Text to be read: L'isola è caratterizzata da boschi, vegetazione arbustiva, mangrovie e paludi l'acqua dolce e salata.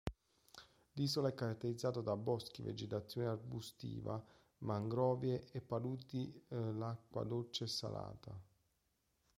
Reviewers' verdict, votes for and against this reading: rejected, 1, 2